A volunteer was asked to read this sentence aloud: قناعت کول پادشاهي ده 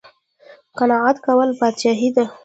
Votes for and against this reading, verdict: 2, 1, accepted